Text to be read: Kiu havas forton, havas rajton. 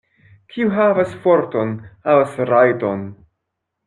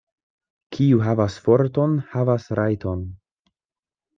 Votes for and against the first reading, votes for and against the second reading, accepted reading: 0, 2, 2, 0, second